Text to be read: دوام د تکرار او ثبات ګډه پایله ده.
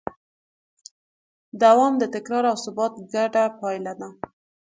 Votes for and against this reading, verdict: 2, 0, accepted